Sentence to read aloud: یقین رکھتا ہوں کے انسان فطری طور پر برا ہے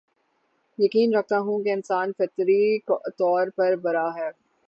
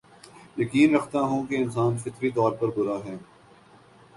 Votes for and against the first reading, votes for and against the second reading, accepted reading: 3, 3, 6, 0, second